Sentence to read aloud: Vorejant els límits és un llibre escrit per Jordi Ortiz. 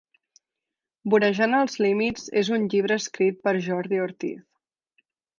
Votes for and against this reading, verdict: 2, 0, accepted